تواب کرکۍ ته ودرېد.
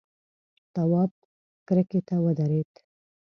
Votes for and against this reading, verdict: 1, 2, rejected